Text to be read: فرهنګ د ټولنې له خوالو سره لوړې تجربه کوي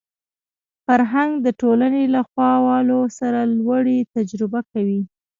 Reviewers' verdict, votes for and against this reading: accepted, 2, 0